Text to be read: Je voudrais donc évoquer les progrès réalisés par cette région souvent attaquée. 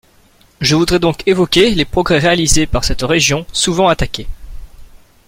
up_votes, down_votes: 2, 0